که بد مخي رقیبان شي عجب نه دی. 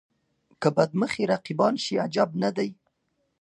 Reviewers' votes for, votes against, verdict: 2, 0, accepted